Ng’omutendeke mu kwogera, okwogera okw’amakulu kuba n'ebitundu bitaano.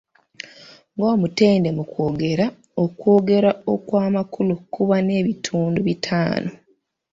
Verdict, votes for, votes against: rejected, 1, 2